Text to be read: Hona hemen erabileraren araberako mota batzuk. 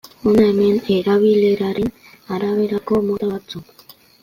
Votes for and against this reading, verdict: 2, 1, accepted